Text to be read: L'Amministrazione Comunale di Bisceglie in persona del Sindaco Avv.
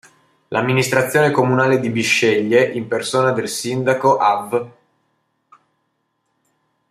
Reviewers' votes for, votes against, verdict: 2, 0, accepted